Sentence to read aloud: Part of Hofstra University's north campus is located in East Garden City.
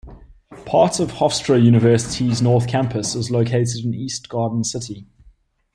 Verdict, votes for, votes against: accepted, 2, 0